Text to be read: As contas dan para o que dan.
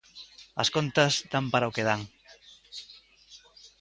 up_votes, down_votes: 2, 0